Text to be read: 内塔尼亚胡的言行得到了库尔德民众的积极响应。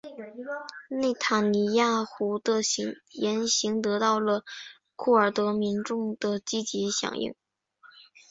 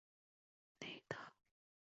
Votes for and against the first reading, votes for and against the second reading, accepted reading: 2, 0, 0, 2, first